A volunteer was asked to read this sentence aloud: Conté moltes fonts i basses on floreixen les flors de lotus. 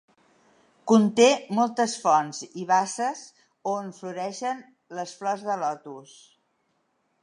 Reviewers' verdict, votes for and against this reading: accepted, 2, 0